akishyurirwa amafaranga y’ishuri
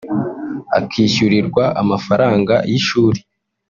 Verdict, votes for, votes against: rejected, 0, 2